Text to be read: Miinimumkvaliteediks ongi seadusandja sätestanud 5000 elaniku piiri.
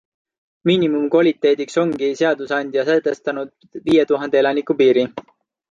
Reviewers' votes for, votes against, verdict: 0, 2, rejected